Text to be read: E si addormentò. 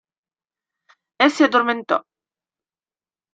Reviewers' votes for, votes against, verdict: 2, 0, accepted